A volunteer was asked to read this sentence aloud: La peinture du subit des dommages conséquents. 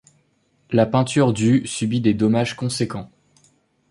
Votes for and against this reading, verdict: 2, 0, accepted